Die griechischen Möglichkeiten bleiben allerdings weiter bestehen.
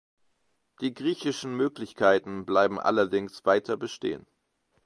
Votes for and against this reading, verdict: 2, 0, accepted